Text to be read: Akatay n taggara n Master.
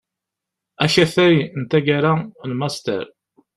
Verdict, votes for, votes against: accepted, 2, 0